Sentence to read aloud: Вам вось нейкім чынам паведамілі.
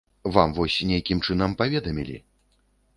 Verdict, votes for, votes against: accepted, 2, 0